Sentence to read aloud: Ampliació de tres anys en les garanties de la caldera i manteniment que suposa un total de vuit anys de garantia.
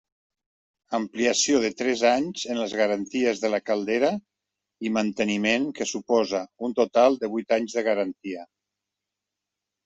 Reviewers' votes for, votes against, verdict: 3, 0, accepted